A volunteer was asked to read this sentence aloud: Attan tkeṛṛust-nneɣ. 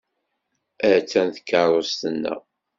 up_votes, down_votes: 2, 0